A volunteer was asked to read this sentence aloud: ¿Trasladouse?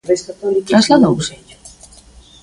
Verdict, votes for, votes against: rejected, 0, 2